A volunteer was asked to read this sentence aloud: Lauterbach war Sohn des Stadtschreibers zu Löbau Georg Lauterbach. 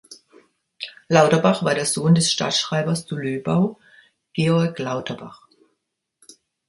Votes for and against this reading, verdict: 0, 2, rejected